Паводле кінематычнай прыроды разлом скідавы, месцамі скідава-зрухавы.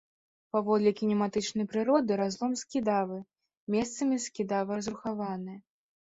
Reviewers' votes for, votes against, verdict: 1, 2, rejected